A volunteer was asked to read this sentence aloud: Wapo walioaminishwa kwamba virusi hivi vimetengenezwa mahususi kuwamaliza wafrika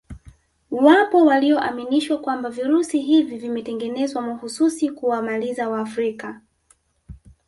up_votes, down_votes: 0, 2